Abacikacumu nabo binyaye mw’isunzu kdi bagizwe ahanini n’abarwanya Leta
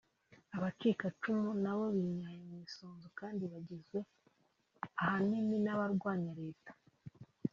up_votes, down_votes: 1, 2